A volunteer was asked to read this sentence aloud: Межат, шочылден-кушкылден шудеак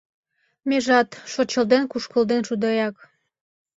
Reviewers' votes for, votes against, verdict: 2, 0, accepted